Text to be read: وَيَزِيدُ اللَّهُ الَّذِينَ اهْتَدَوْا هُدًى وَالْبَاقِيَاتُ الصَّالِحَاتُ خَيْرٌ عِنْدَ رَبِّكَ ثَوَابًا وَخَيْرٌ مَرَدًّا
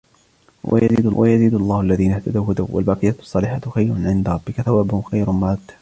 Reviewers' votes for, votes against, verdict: 1, 2, rejected